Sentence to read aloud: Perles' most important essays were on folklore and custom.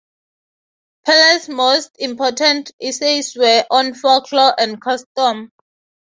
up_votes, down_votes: 6, 0